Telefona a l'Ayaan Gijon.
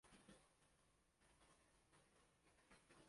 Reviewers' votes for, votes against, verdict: 0, 2, rejected